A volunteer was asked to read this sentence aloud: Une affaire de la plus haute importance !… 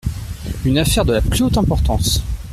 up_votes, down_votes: 3, 0